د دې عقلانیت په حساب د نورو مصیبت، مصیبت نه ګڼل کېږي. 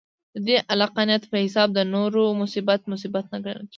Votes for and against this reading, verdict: 2, 0, accepted